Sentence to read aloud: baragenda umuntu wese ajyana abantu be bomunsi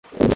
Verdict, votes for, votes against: rejected, 1, 2